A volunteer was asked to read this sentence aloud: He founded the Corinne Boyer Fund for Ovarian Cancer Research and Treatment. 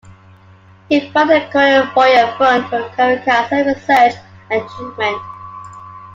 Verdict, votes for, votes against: rejected, 1, 2